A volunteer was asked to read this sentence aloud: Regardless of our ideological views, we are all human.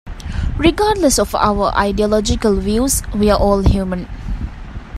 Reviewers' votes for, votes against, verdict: 2, 0, accepted